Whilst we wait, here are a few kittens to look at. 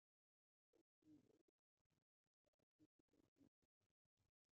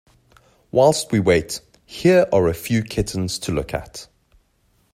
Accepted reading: second